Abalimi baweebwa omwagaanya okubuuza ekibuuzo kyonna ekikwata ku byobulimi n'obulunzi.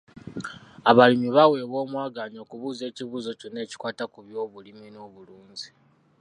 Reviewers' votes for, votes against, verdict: 2, 0, accepted